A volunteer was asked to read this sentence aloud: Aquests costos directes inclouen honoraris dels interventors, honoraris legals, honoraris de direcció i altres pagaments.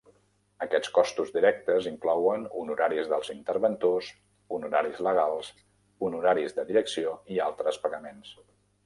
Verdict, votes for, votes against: accepted, 3, 0